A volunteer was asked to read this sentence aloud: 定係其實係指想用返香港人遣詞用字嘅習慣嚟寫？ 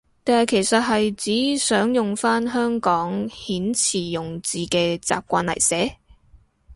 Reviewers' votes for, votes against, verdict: 2, 2, rejected